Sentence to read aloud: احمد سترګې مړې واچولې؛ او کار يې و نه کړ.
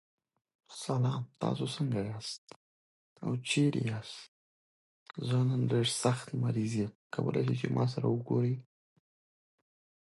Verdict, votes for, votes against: rejected, 0, 2